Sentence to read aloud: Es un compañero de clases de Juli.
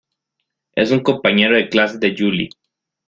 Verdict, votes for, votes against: accepted, 2, 0